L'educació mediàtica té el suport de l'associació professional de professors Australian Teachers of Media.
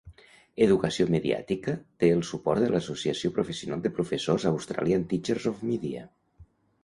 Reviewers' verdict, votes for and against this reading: rejected, 0, 2